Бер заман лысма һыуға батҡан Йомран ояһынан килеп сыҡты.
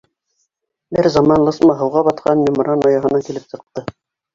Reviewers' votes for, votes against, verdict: 1, 2, rejected